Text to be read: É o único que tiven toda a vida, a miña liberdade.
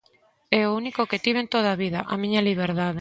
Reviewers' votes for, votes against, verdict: 2, 0, accepted